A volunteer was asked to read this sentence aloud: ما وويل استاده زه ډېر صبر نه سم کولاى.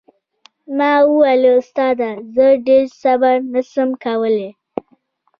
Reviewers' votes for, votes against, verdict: 2, 0, accepted